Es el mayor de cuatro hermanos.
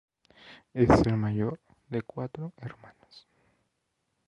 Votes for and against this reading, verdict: 0, 2, rejected